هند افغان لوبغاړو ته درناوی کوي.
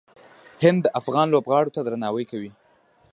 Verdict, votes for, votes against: rejected, 0, 2